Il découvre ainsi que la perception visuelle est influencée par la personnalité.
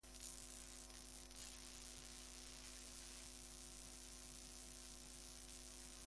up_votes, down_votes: 1, 2